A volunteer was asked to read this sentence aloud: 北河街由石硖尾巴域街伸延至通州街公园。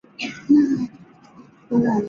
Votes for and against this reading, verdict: 1, 2, rejected